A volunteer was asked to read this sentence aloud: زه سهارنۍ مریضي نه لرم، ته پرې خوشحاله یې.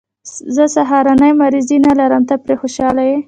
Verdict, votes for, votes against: rejected, 1, 2